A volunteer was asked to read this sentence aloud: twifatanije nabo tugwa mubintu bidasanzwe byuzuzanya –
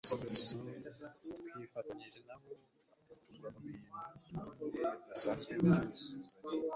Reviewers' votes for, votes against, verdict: 1, 2, rejected